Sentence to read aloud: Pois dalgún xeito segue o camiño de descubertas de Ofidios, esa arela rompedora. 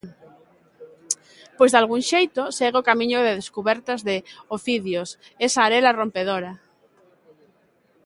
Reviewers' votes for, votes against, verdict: 2, 0, accepted